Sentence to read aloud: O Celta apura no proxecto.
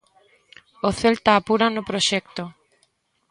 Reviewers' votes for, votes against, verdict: 2, 0, accepted